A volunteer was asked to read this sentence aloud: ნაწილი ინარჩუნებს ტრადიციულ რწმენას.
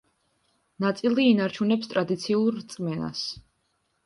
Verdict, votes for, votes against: accepted, 3, 0